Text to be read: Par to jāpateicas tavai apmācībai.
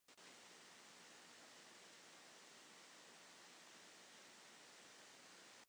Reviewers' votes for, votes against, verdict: 0, 2, rejected